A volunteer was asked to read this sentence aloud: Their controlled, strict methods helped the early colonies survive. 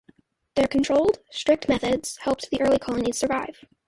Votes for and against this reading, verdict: 2, 0, accepted